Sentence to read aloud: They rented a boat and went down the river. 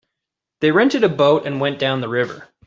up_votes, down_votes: 3, 0